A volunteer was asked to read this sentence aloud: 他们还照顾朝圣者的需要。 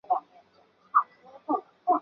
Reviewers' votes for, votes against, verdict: 0, 2, rejected